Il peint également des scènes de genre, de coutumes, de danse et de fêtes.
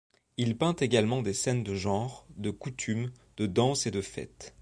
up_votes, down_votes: 2, 0